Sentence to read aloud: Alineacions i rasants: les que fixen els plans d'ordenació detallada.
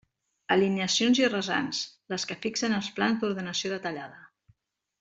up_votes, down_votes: 2, 0